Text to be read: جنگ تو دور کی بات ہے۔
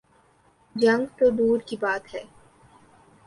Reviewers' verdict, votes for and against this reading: accepted, 3, 0